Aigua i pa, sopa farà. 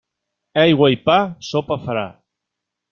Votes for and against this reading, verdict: 2, 0, accepted